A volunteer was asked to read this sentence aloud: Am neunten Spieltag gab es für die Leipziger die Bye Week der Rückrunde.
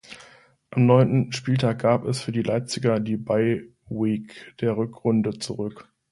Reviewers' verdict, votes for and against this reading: rejected, 1, 2